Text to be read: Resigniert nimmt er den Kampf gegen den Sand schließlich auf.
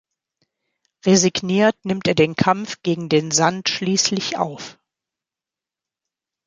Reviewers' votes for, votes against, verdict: 2, 0, accepted